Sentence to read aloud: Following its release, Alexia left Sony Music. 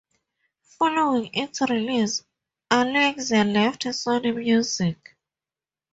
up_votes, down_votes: 0, 4